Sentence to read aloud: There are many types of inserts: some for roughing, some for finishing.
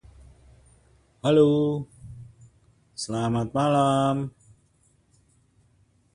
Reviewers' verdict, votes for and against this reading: rejected, 0, 2